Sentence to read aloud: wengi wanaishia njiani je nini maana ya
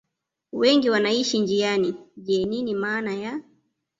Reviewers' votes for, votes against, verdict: 1, 2, rejected